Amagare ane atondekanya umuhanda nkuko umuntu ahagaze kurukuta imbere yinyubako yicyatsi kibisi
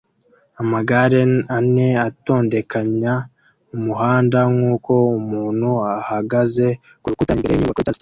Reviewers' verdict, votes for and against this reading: rejected, 1, 2